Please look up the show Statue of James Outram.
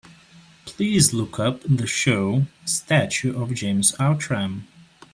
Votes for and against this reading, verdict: 3, 0, accepted